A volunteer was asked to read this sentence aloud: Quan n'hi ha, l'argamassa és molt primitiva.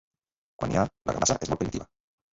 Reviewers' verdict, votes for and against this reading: rejected, 0, 2